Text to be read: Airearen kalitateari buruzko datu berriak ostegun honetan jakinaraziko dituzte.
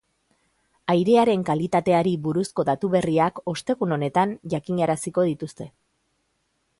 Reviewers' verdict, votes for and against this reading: accepted, 2, 0